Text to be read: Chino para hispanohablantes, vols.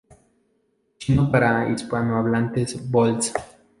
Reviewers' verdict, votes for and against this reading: accepted, 2, 0